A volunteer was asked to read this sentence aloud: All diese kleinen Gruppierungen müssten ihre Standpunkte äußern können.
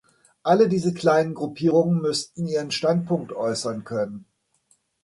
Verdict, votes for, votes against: rejected, 0, 2